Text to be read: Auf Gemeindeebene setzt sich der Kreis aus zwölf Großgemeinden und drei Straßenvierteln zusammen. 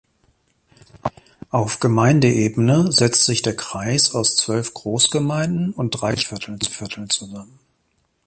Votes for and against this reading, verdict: 0, 2, rejected